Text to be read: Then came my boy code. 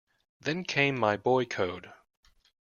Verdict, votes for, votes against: accepted, 2, 0